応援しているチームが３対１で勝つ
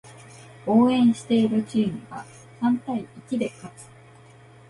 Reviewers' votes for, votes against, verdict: 0, 2, rejected